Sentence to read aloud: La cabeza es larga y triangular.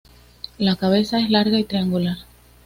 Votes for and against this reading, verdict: 2, 0, accepted